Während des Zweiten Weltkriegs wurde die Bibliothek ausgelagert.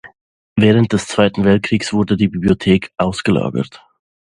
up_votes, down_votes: 2, 0